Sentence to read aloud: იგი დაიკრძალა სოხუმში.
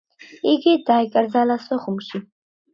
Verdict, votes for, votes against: accepted, 2, 0